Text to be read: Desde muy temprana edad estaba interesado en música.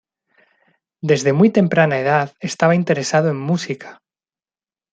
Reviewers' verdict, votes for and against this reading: accepted, 2, 0